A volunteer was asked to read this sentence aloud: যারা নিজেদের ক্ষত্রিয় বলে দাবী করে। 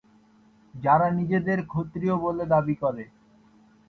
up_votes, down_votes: 6, 0